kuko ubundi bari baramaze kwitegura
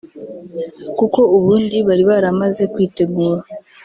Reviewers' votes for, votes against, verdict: 0, 2, rejected